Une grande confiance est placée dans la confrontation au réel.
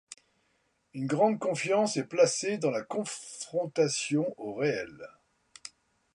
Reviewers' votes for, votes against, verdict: 0, 2, rejected